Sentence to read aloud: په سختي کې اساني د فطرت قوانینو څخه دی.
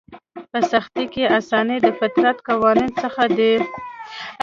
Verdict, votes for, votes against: rejected, 1, 2